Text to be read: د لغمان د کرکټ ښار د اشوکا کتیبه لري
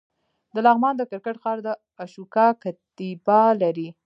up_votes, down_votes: 2, 0